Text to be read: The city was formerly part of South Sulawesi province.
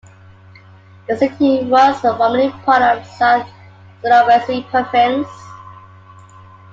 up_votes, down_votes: 1, 2